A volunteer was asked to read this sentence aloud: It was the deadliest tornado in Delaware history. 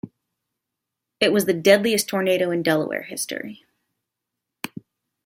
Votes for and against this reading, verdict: 2, 1, accepted